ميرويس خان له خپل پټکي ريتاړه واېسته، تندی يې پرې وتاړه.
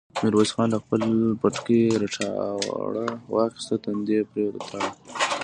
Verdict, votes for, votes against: rejected, 0, 2